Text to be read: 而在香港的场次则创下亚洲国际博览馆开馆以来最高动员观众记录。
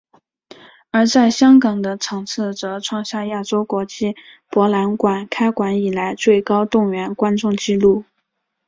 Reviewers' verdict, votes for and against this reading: accepted, 2, 0